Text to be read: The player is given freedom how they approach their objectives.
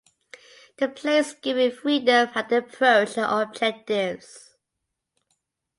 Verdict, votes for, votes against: accepted, 2, 0